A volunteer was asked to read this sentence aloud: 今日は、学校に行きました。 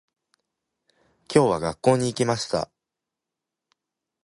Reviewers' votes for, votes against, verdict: 2, 0, accepted